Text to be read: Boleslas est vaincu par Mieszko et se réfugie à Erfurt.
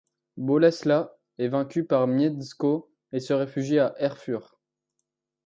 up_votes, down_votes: 2, 1